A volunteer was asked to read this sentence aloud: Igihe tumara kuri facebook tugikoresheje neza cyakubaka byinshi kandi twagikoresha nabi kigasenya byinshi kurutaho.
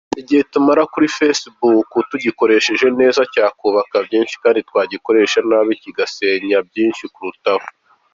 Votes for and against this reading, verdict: 2, 0, accepted